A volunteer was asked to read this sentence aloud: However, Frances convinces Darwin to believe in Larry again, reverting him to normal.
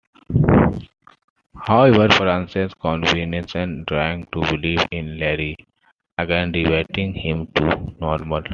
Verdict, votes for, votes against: accepted, 2, 1